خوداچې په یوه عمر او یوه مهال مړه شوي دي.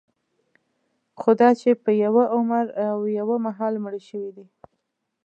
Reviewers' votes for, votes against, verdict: 2, 0, accepted